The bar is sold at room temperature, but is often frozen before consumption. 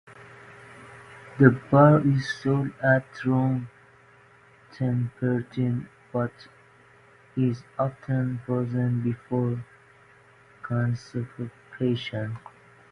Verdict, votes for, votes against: rejected, 0, 2